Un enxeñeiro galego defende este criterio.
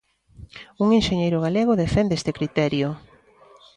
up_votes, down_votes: 2, 0